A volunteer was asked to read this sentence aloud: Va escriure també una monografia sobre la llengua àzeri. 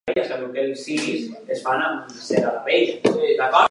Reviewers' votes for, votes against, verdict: 0, 2, rejected